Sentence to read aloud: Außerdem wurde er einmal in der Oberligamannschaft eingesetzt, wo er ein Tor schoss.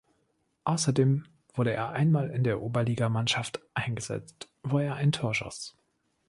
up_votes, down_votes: 2, 0